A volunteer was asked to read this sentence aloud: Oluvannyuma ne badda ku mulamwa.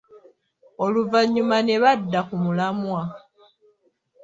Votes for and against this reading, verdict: 3, 0, accepted